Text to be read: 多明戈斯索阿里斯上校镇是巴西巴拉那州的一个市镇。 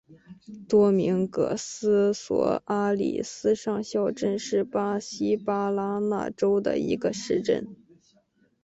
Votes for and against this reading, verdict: 0, 2, rejected